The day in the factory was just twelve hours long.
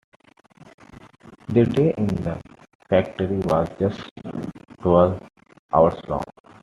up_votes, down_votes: 2, 1